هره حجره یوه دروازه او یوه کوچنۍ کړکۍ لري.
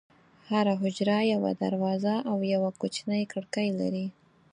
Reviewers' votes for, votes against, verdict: 4, 0, accepted